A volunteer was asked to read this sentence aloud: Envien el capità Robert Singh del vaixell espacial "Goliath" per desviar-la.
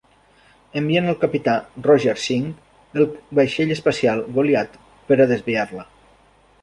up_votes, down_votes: 0, 2